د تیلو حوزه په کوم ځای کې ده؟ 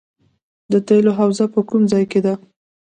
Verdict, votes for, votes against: accepted, 2, 1